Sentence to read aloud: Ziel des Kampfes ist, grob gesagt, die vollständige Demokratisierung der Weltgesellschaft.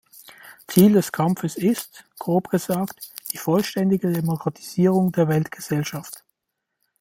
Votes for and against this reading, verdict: 2, 0, accepted